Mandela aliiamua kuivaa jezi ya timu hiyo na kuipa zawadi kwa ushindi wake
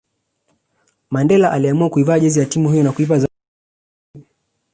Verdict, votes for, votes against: rejected, 0, 2